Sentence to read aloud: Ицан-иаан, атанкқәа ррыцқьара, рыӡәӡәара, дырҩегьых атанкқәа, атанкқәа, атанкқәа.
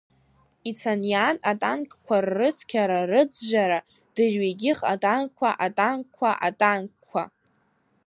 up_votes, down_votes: 1, 2